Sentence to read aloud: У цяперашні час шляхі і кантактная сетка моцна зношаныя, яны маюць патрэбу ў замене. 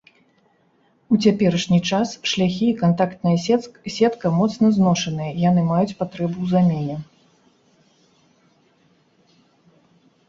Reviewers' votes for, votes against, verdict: 0, 2, rejected